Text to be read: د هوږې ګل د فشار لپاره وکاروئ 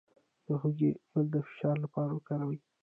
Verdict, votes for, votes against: accepted, 2, 1